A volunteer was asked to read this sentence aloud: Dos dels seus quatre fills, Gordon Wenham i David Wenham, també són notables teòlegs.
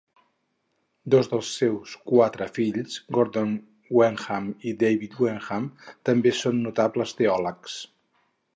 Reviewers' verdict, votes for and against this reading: rejected, 0, 2